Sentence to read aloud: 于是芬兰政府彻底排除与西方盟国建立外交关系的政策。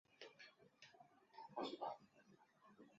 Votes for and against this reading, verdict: 1, 2, rejected